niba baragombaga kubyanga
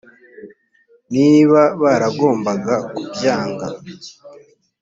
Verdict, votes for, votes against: accepted, 3, 0